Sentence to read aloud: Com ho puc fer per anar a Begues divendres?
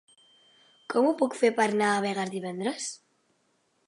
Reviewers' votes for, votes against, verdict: 1, 2, rejected